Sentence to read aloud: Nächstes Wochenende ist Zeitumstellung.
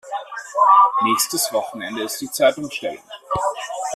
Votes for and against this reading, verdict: 0, 2, rejected